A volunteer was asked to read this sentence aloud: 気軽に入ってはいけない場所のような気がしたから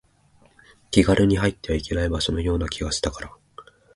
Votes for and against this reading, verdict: 14, 2, accepted